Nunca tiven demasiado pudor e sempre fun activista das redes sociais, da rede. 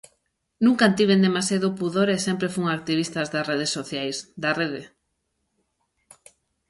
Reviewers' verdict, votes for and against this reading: accepted, 3, 2